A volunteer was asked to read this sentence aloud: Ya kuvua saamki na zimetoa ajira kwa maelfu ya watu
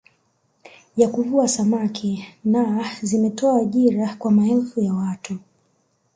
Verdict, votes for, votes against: rejected, 1, 2